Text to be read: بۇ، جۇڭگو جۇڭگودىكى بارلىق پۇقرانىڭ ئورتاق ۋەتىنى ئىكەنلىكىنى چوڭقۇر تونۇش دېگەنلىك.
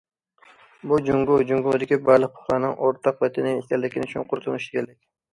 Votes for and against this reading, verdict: 0, 2, rejected